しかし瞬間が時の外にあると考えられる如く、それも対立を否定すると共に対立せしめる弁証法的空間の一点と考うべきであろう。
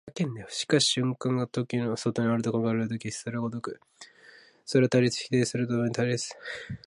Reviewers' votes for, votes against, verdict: 0, 2, rejected